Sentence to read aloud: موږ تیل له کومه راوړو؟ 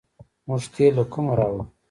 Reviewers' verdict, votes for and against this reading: rejected, 0, 2